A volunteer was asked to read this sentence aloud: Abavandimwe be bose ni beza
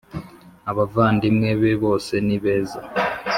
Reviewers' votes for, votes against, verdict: 2, 0, accepted